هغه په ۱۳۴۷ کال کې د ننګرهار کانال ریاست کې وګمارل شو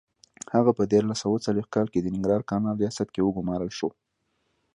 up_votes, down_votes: 0, 2